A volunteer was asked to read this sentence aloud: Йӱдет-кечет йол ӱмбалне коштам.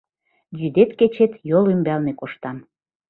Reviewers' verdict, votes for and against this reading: accepted, 2, 0